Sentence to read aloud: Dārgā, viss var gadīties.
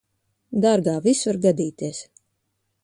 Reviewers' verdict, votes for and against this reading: rejected, 1, 2